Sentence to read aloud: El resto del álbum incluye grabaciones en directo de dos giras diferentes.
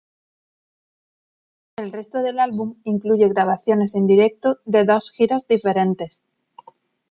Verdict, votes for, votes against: accepted, 2, 0